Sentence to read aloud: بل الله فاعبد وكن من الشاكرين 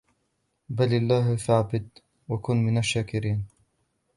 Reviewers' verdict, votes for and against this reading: rejected, 1, 2